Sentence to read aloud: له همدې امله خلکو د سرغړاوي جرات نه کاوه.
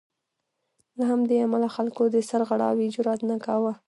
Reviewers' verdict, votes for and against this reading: rejected, 0, 2